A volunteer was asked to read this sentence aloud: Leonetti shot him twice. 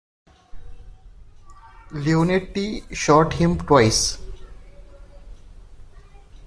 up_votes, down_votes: 2, 0